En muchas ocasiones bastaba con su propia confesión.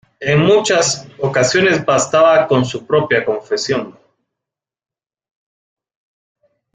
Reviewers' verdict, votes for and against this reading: accepted, 2, 0